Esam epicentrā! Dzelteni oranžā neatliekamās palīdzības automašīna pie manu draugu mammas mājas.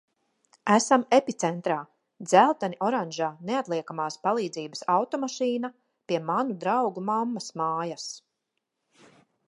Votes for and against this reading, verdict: 2, 0, accepted